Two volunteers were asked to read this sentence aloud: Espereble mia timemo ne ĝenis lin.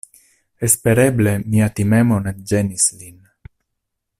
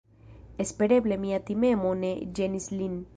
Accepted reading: first